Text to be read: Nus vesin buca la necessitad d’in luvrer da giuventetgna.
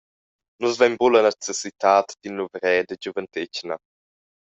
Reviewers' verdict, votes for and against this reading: rejected, 0, 2